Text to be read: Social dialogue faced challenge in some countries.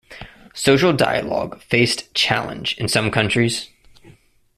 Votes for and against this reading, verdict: 2, 0, accepted